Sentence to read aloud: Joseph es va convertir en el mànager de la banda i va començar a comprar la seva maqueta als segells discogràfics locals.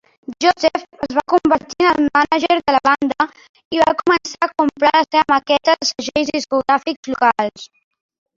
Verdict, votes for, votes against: rejected, 1, 3